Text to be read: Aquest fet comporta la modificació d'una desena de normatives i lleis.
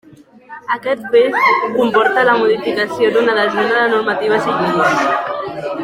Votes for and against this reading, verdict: 2, 1, accepted